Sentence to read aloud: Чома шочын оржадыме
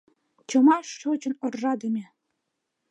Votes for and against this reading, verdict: 2, 0, accepted